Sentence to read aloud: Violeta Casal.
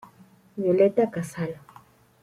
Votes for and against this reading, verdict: 2, 0, accepted